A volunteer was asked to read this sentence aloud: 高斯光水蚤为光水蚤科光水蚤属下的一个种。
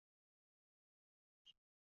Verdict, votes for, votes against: rejected, 0, 2